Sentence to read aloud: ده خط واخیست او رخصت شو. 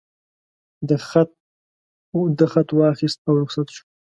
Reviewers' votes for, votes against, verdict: 1, 2, rejected